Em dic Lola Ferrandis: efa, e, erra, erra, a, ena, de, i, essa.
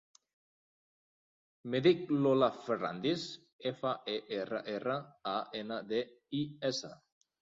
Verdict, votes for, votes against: rejected, 0, 2